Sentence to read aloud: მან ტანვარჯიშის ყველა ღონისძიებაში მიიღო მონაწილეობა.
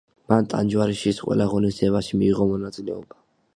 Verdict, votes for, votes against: rejected, 0, 2